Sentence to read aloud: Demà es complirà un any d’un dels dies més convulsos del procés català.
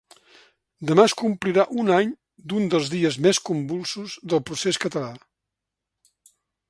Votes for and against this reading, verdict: 3, 0, accepted